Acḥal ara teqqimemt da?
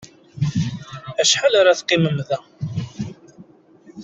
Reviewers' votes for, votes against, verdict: 2, 0, accepted